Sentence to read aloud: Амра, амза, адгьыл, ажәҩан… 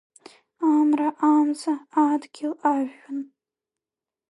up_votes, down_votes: 1, 2